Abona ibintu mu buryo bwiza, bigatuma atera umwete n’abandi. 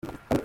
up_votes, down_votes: 0, 2